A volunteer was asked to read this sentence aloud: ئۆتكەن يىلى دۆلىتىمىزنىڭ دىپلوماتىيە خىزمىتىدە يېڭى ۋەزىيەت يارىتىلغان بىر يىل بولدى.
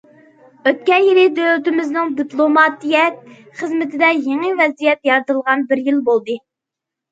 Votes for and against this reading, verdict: 2, 0, accepted